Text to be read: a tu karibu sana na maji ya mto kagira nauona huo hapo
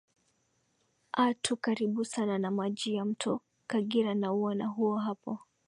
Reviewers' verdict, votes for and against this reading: accepted, 2, 0